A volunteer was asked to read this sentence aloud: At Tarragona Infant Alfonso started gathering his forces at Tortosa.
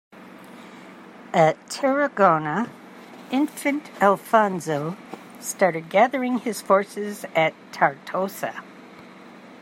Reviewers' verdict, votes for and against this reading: accepted, 2, 0